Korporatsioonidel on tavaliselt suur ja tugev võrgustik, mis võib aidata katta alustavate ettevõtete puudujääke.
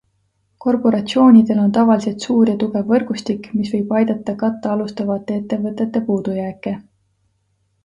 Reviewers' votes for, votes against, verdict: 2, 0, accepted